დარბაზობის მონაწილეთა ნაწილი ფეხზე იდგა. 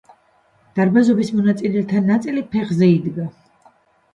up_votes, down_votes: 2, 0